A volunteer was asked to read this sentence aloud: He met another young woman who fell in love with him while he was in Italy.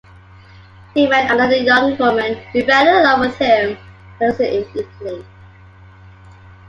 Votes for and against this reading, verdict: 2, 1, accepted